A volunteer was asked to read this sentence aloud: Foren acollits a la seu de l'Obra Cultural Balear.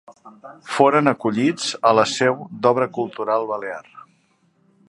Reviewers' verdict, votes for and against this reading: rejected, 1, 2